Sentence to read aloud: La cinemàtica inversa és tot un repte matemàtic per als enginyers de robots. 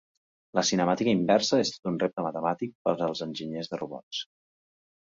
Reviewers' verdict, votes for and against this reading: rejected, 0, 2